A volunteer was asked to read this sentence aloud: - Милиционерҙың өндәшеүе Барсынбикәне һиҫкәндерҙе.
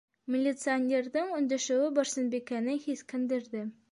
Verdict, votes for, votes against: accepted, 4, 0